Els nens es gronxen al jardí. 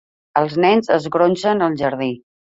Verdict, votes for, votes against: accepted, 3, 0